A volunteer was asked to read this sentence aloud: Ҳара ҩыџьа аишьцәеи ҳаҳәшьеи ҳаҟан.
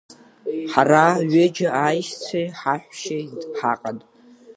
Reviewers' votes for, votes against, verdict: 1, 2, rejected